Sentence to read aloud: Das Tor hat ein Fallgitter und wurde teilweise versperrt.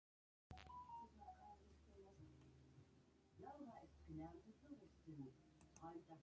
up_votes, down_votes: 0, 3